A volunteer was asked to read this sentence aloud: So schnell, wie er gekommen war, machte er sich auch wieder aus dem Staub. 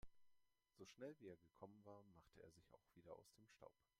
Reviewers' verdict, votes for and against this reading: rejected, 1, 3